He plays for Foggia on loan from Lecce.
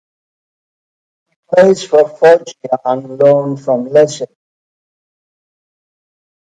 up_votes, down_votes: 0, 2